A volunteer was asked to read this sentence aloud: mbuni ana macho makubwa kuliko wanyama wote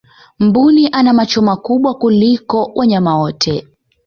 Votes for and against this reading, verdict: 1, 2, rejected